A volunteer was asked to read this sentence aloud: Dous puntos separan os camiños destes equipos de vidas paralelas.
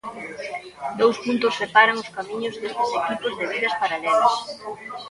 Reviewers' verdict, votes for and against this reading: rejected, 1, 2